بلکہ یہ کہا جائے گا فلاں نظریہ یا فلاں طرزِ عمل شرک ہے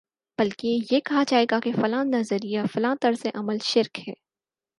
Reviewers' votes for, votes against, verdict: 4, 0, accepted